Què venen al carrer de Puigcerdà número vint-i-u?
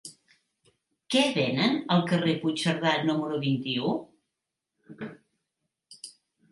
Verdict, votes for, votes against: rejected, 1, 2